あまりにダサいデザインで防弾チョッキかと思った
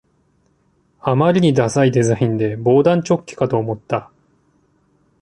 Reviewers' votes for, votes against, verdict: 2, 0, accepted